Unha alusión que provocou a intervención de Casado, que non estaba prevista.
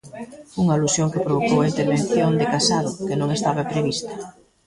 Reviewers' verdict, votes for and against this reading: rejected, 0, 2